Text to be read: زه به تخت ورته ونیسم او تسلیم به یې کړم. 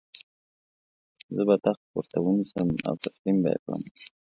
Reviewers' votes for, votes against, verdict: 2, 0, accepted